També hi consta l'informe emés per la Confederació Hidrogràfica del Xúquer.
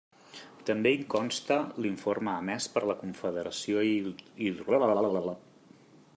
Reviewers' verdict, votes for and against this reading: rejected, 0, 2